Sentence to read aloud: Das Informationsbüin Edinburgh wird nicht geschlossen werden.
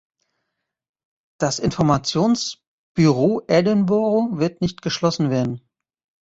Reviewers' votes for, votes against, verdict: 0, 2, rejected